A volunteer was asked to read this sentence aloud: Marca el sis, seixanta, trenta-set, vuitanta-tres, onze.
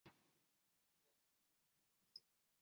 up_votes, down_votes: 0, 2